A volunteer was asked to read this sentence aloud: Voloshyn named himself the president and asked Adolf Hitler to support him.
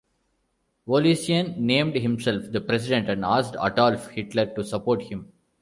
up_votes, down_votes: 0, 2